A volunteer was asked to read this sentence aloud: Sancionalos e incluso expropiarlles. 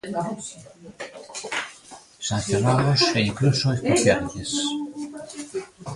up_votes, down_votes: 0, 2